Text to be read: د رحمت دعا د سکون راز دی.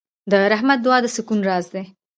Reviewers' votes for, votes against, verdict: 2, 1, accepted